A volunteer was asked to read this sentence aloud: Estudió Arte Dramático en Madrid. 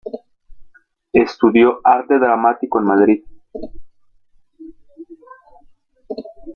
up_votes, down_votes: 1, 2